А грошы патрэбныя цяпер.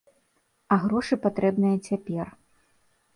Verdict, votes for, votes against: accepted, 2, 0